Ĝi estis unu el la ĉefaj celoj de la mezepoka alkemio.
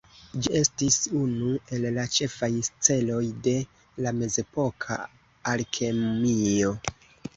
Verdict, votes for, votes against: rejected, 0, 2